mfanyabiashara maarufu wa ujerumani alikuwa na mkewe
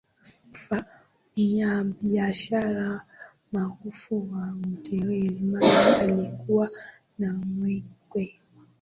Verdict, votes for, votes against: rejected, 0, 2